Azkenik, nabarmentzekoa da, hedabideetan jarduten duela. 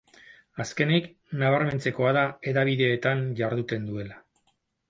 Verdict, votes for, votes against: accepted, 4, 0